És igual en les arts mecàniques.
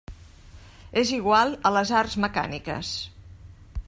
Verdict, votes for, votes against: rejected, 0, 2